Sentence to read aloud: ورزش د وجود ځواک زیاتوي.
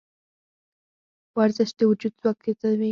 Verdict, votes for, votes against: rejected, 0, 4